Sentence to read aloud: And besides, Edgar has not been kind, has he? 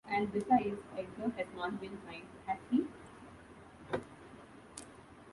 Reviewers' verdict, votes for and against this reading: rejected, 0, 2